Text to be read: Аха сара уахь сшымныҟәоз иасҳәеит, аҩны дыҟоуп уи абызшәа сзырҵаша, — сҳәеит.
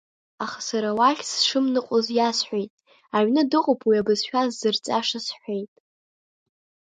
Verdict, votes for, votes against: accepted, 3, 1